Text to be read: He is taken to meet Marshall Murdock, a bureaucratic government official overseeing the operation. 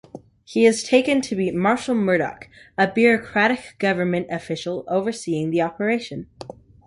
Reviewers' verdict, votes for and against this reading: accepted, 2, 0